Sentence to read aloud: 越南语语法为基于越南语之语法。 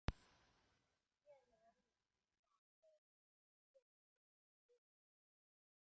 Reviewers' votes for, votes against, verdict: 0, 2, rejected